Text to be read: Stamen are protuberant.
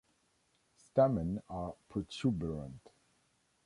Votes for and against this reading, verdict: 0, 2, rejected